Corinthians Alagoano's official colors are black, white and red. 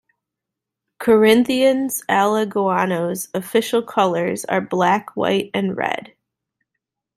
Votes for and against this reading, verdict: 2, 0, accepted